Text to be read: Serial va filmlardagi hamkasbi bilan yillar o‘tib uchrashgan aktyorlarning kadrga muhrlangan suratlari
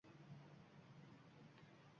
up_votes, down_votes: 1, 2